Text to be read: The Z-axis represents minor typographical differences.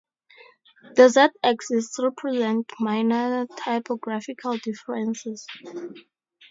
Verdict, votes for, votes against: rejected, 0, 2